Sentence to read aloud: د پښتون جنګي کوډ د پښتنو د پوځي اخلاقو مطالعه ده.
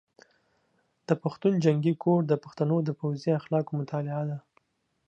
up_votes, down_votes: 2, 0